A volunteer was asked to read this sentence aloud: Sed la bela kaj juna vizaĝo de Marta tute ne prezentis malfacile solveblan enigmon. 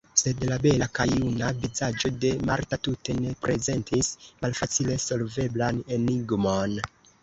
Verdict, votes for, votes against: rejected, 0, 2